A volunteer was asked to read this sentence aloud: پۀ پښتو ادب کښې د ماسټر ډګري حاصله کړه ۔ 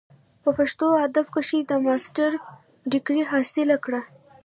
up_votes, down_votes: 0, 2